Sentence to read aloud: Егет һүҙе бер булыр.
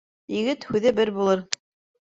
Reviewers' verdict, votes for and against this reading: accepted, 2, 0